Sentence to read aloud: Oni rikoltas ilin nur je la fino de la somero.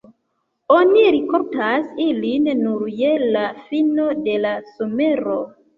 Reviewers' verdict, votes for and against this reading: rejected, 1, 2